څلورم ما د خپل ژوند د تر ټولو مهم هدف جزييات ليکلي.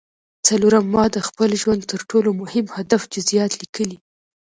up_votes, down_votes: 1, 2